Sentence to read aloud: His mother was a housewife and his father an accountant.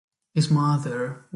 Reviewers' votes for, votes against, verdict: 0, 2, rejected